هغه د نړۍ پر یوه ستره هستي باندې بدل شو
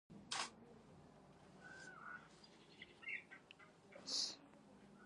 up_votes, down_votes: 1, 2